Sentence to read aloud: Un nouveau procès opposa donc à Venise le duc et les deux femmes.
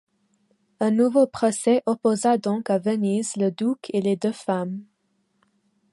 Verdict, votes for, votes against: rejected, 1, 2